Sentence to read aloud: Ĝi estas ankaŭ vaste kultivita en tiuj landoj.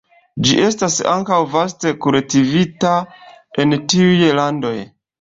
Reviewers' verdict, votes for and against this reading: accepted, 2, 1